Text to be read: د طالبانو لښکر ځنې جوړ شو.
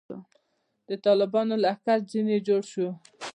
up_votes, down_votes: 2, 1